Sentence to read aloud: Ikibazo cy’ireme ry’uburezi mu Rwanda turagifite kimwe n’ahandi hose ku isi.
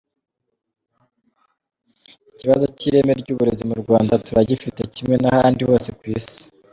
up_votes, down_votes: 2, 1